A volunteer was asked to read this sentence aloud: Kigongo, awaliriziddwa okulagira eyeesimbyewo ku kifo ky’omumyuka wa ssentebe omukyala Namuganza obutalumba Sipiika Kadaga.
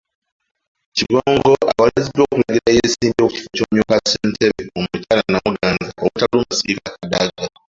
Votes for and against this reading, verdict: 1, 2, rejected